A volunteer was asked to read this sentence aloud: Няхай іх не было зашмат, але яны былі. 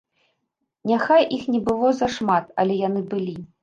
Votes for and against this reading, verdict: 2, 0, accepted